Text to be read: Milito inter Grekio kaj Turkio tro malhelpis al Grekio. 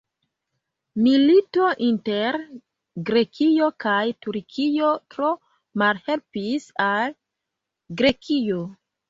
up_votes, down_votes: 2, 0